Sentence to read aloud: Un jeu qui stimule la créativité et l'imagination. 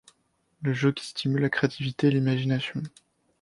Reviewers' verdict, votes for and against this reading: accepted, 2, 0